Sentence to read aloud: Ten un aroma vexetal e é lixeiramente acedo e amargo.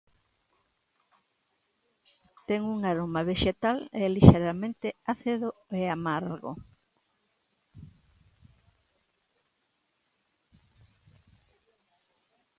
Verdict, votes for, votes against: rejected, 0, 2